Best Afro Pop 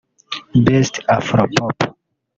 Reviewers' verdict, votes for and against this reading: rejected, 1, 2